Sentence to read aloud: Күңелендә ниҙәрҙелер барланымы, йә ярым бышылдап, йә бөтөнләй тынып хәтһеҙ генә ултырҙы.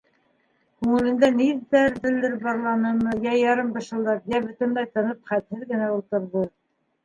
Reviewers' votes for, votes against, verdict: 1, 3, rejected